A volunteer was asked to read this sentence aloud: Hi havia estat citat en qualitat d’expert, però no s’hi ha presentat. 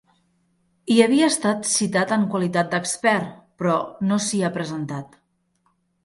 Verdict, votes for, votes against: accepted, 3, 0